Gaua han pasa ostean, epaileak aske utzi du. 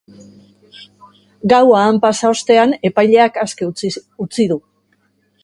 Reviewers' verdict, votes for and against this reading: rejected, 1, 2